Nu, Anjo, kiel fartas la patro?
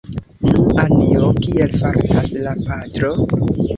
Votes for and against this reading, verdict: 0, 2, rejected